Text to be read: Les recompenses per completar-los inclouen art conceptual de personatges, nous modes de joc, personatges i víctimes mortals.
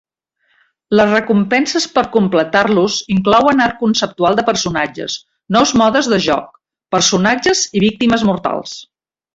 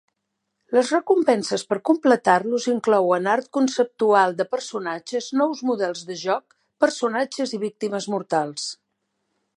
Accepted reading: first